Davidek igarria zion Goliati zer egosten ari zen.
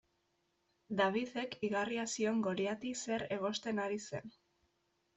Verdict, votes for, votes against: accepted, 2, 0